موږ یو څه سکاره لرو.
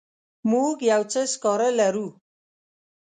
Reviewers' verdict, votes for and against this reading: accepted, 2, 0